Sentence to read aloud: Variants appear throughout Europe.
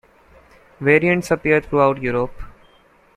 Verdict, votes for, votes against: rejected, 1, 2